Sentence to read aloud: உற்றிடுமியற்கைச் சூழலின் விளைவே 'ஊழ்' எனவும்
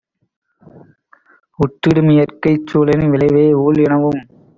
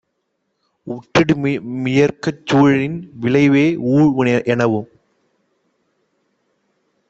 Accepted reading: first